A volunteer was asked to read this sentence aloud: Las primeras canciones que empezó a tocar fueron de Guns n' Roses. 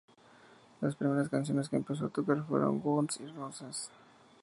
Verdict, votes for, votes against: accepted, 2, 0